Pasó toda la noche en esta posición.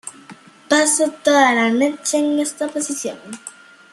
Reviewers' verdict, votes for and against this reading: rejected, 0, 2